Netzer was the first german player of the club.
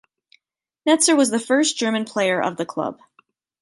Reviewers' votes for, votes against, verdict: 2, 0, accepted